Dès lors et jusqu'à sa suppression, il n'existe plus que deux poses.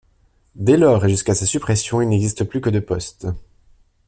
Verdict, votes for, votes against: rejected, 0, 2